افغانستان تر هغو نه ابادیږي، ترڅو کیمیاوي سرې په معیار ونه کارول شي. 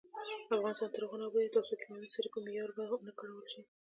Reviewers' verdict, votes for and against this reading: accepted, 2, 1